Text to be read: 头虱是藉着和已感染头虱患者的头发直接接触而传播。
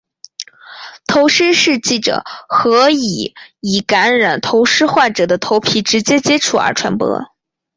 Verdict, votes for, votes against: rejected, 0, 4